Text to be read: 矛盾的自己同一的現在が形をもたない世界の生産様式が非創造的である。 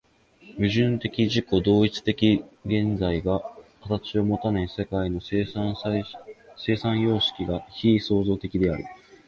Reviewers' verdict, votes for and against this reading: rejected, 0, 2